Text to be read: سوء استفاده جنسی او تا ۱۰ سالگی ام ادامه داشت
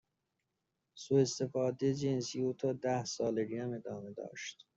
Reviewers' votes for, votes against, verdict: 0, 2, rejected